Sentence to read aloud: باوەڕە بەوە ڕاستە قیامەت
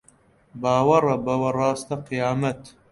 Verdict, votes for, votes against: accepted, 2, 1